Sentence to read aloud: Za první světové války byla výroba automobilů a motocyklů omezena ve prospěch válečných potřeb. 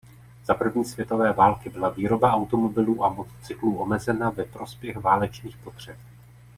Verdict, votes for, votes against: accepted, 2, 0